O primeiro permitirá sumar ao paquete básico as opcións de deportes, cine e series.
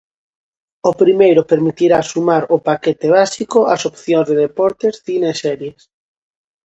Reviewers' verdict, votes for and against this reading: accepted, 2, 0